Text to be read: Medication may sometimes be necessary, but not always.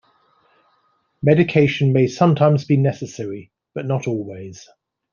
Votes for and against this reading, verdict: 2, 0, accepted